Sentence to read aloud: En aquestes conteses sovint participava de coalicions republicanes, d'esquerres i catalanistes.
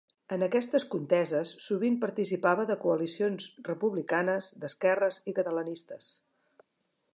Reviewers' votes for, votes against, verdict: 4, 1, accepted